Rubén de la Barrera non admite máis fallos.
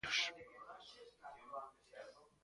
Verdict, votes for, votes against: rejected, 0, 2